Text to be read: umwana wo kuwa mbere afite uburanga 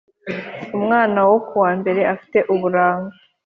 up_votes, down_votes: 2, 0